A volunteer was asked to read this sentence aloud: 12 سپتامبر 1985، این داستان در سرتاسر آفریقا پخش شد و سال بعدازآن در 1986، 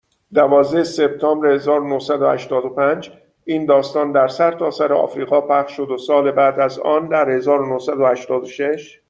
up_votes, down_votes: 0, 2